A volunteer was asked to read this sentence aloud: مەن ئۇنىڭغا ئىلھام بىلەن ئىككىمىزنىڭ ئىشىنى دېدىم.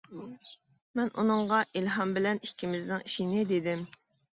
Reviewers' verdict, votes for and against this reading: accepted, 2, 0